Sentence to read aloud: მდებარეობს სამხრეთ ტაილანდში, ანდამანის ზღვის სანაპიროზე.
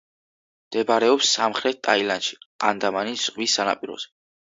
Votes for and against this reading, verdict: 2, 0, accepted